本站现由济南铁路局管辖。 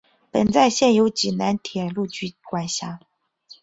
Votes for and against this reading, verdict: 3, 0, accepted